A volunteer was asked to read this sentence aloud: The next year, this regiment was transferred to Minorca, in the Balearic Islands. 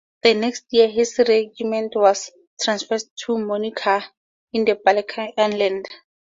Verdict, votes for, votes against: rejected, 2, 2